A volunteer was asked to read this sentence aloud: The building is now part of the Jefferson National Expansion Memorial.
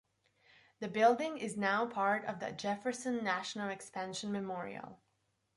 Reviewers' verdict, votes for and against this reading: accepted, 2, 0